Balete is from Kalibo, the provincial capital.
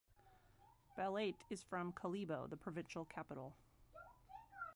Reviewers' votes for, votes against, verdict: 1, 2, rejected